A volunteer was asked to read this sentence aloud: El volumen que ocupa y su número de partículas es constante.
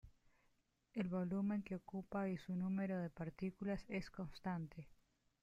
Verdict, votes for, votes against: rejected, 0, 2